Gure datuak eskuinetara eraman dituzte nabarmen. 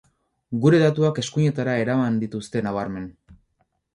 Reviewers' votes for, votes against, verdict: 4, 0, accepted